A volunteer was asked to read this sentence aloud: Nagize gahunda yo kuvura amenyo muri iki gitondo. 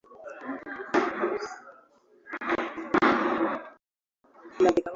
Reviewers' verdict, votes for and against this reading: rejected, 1, 2